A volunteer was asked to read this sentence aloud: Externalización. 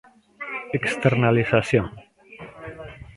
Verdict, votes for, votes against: rejected, 0, 2